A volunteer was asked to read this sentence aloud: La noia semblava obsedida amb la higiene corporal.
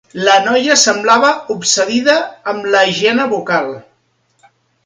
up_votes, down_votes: 1, 2